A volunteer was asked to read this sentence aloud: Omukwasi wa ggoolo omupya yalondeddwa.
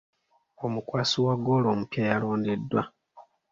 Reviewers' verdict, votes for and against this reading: accepted, 2, 0